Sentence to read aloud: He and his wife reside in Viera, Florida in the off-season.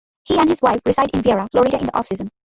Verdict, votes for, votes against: rejected, 0, 2